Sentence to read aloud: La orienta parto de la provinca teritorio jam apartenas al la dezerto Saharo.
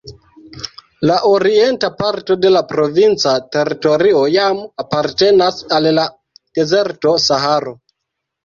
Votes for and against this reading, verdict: 2, 0, accepted